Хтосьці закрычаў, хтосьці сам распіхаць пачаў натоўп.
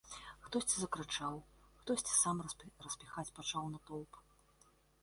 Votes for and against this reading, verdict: 1, 2, rejected